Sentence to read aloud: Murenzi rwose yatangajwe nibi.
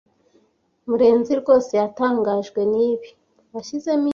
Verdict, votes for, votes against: rejected, 1, 2